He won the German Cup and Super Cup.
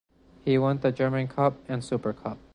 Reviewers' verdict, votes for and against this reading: accepted, 2, 0